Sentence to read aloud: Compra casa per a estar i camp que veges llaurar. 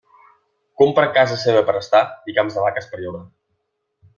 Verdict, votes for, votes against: rejected, 0, 2